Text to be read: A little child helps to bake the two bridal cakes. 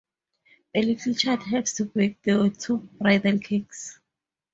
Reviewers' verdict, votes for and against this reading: rejected, 0, 4